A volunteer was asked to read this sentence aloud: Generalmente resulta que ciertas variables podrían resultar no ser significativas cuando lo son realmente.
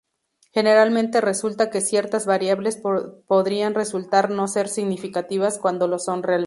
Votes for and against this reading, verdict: 0, 2, rejected